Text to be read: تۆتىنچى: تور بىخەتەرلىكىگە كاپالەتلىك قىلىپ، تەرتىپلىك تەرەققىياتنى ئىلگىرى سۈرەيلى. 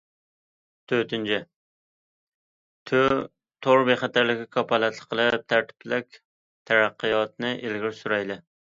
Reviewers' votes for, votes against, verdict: 1, 2, rejected